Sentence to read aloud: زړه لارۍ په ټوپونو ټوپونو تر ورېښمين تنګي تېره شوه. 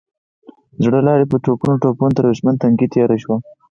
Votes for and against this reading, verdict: 0, 4, rejected